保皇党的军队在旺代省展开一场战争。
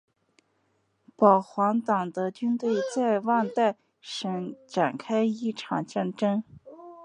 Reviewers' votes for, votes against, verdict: 2, 0, accepted